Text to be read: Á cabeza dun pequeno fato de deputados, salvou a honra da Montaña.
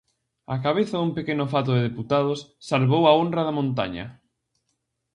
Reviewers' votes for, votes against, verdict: 2, 0, accepted